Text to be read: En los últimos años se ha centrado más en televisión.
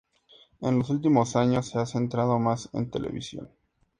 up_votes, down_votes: 2, 0